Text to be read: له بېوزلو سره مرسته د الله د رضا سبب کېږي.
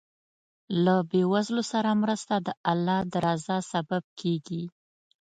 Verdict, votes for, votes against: accepted, 2, 0